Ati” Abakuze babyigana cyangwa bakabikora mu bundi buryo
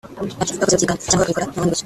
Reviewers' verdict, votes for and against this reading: rejected, 1, 2